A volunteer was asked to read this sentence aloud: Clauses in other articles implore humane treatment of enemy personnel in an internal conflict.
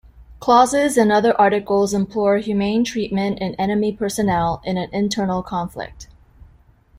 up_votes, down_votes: 0, 2